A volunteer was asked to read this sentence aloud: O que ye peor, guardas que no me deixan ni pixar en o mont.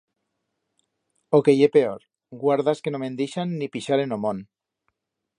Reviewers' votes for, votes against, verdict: 1, 2, rejected